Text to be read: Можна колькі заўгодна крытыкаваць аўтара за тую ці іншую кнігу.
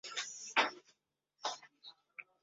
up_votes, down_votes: 0, 2